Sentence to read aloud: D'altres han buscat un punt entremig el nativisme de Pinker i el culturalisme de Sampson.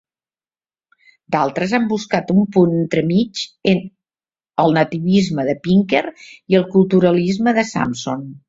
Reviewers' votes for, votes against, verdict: 1, 2, rejected